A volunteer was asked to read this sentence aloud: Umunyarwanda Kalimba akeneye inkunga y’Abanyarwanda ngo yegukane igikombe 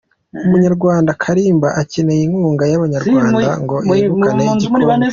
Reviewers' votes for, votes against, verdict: 2, 1, accepted